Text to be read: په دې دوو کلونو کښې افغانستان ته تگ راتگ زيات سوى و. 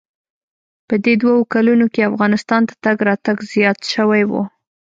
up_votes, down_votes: 2, 0